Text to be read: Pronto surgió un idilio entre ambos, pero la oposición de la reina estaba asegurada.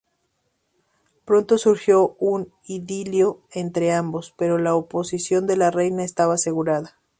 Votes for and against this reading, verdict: 3, 0, accepted